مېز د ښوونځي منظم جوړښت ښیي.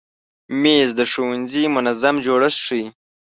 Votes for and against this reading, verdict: 2, 0, accepted